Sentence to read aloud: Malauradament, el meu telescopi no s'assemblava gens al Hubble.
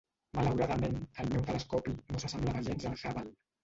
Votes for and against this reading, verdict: 0, 2, rejected